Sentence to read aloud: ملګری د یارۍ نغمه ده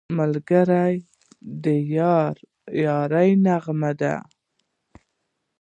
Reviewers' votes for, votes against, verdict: 2, 1, accepted